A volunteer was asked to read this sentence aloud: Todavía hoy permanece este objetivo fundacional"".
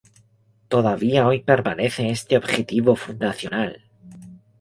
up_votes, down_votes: 2, 0